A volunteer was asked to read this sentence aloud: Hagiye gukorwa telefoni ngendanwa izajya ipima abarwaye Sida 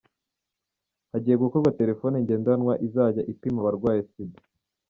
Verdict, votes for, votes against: rejected, 1, 2